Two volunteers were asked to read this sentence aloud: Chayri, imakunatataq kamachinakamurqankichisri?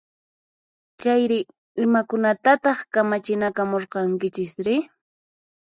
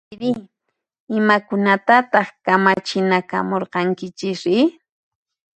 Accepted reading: first